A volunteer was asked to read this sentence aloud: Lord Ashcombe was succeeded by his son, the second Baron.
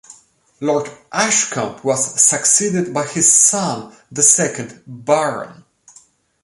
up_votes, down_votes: 2, 0